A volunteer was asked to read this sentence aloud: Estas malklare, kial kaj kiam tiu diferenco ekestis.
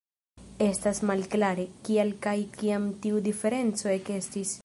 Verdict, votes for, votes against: accepted, 2, 0